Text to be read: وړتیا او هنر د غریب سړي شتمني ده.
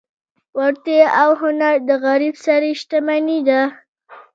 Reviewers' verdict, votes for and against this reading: rejected, 1, 2